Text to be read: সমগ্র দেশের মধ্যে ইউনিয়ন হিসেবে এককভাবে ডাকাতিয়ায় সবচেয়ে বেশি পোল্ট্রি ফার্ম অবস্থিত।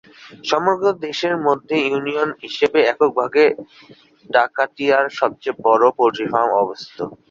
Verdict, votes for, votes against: rejected, 1, 3